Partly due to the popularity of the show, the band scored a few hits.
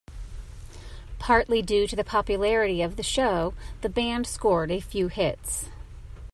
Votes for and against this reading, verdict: 2, 0, accepted